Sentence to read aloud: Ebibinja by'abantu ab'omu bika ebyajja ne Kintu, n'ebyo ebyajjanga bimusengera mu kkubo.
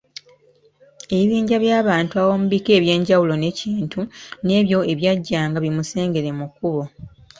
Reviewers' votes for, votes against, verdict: 1, 3, rejected